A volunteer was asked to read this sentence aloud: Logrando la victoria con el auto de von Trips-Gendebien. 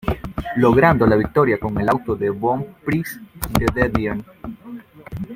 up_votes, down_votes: 0, 2